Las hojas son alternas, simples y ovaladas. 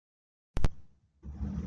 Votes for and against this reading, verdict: 0, 2, rejected